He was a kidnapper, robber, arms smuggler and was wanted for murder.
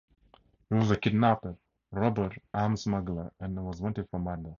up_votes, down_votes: 2, 0